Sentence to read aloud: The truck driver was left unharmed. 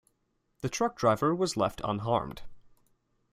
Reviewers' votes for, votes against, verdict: 2, 0, accepted